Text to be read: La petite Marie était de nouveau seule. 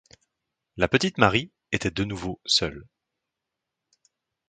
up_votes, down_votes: 2, 0